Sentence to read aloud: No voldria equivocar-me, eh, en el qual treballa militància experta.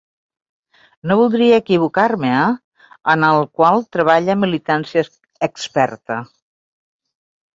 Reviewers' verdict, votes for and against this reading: rejected, 1, 3